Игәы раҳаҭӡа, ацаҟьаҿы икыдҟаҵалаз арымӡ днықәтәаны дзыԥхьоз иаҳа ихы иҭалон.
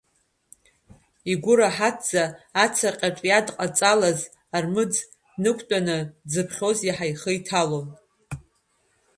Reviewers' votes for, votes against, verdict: 1, 2, rejected